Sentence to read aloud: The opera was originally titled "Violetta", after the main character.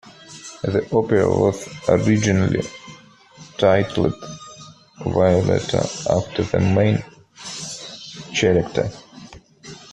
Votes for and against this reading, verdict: 0, 2, rejected